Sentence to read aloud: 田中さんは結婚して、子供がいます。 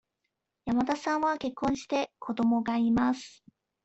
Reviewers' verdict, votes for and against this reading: rejected, 1, 2